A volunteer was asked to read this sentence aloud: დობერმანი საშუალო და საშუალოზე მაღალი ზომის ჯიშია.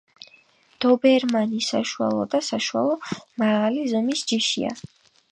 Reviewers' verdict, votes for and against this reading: rejected, 2, 5